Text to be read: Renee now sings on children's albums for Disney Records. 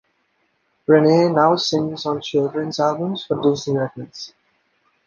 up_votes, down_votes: 2, 0